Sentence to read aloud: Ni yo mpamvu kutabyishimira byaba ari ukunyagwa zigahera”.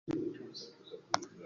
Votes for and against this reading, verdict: 0, 2, rejected